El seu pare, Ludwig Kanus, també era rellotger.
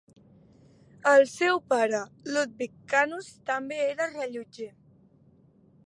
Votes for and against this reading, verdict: 2, 0, accepted